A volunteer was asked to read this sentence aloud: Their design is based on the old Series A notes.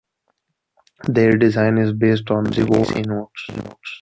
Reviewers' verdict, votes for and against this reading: rejected, 0, 2